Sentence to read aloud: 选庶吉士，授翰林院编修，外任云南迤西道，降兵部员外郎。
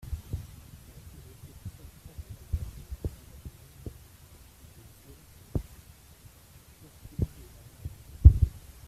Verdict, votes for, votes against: rejected, 0, 2